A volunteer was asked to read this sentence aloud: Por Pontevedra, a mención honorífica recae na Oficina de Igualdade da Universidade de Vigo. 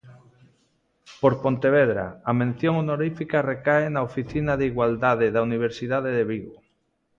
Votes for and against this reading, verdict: 2, 0, accepted